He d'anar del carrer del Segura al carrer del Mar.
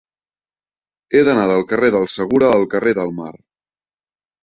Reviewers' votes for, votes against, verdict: 4, 0, accepted